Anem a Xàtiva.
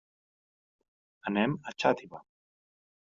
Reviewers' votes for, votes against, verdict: 1, 2, rejected